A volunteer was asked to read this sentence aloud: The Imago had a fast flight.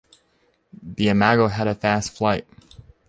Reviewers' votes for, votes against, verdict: 2, 0, accepted